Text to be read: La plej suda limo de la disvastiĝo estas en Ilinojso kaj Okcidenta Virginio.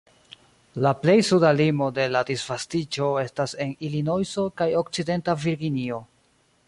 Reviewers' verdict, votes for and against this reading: accepted, 2, 1